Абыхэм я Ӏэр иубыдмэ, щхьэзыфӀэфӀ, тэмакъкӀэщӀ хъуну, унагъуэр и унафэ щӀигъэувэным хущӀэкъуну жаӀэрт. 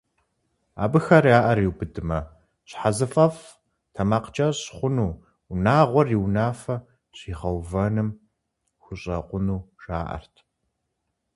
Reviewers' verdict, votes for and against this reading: rejected, 0, 2